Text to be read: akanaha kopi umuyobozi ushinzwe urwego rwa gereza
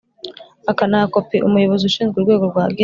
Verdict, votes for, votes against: rejected, 0, 2